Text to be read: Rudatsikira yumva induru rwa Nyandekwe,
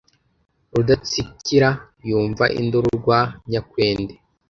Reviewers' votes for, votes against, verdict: 0, 2, rejected